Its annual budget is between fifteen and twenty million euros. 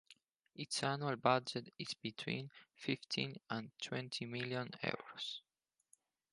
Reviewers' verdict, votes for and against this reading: accepted, 4, 0